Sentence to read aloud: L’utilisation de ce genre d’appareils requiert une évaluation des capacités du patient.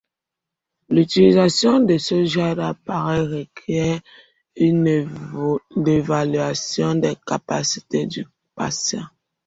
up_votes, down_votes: 1, 2